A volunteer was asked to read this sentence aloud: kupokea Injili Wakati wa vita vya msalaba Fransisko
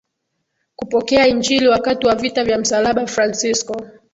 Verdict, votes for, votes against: accepted, 2, 0